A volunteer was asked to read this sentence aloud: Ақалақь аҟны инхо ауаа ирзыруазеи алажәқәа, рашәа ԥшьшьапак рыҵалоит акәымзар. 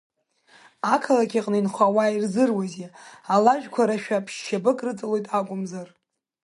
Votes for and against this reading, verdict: 2, 0, accepted